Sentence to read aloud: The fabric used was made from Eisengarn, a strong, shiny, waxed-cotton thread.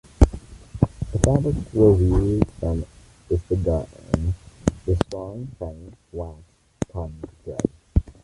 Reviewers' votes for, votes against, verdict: 0, 2, rejected